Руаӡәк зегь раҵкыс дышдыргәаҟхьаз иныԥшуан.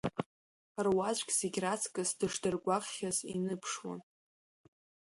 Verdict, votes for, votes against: accepted, 2, 0